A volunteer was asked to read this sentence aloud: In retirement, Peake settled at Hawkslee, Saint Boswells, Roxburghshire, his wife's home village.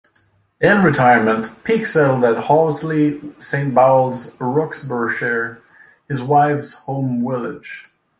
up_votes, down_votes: 0, 2